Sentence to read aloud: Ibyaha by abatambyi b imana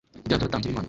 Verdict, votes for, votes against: accepted, 3, 2